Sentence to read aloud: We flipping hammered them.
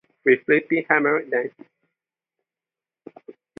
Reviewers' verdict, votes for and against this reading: accepted, 2, 0